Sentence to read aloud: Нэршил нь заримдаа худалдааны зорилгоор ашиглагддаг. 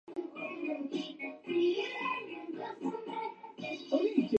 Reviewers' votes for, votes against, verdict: 0, 2, rejected